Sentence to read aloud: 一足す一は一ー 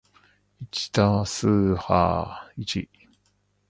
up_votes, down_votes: 2, 1